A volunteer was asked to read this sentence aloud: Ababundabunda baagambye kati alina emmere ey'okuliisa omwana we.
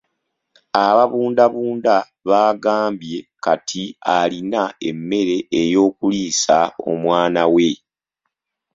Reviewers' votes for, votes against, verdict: 1, 2, rejected